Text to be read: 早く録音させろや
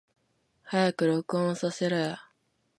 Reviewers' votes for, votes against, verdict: 0, 2, rejected